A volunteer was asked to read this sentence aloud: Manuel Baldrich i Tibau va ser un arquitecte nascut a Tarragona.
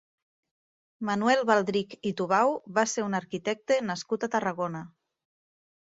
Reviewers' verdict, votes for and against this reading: rejected, 1, 4